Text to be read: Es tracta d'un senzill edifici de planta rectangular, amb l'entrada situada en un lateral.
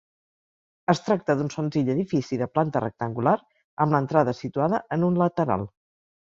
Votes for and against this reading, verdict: 2, 0, accepted